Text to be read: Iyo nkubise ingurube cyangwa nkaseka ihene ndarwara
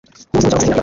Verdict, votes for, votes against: rejected, 0, 2